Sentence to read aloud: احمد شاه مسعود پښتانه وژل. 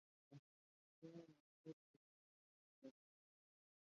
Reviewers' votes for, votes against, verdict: 1, 2, rejected